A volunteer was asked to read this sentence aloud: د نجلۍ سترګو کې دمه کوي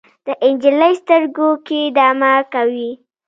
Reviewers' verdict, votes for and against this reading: accepted, 2, 0